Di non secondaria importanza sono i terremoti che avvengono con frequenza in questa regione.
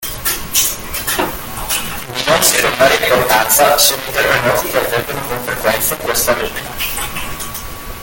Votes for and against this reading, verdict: 0, 2, rejected